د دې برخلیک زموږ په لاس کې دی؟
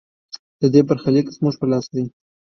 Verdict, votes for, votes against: accepted, 2, 1